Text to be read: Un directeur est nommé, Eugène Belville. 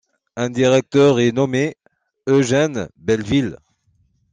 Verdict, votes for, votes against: accepted, 2, 1